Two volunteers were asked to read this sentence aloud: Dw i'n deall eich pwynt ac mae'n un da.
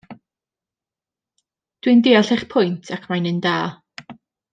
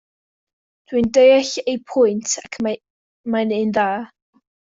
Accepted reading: first